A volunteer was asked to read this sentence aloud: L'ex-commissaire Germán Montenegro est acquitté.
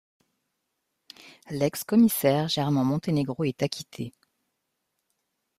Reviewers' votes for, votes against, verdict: 2, 0, accepted